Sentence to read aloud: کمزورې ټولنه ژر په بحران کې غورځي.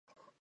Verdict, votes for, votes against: rejected, 0, 4